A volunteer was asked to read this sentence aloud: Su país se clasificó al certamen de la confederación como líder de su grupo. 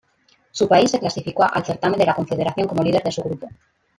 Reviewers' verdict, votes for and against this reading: rejected, 1, 2